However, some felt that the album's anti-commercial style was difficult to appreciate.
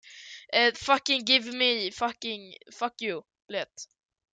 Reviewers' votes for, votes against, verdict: 0, 2, rejected